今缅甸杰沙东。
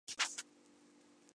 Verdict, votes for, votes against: rejected, 0, 2